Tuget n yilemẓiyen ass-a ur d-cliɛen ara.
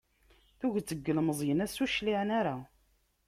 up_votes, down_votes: 0, 2